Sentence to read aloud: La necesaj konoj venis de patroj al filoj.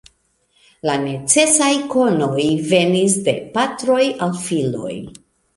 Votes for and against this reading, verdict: 2, 0, accepted